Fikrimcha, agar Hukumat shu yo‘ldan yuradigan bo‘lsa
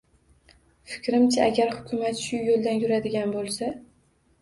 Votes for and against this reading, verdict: 2, 0, accepted